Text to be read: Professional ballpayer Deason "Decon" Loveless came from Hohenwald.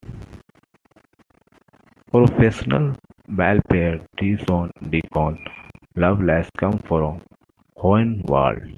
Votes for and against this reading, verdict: 2, 1, accepted